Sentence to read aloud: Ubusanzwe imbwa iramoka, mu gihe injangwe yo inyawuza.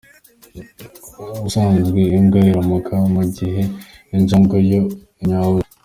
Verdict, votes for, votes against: accepted, 2, 0